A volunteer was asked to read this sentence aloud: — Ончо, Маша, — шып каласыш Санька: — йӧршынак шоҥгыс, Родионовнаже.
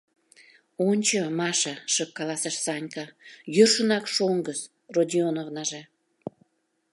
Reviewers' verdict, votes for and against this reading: accepted, 2, 0